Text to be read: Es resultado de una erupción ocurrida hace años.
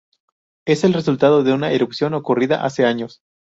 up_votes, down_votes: 0, 2